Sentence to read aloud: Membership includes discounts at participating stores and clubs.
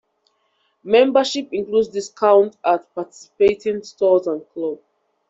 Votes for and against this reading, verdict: 2, 1, accepted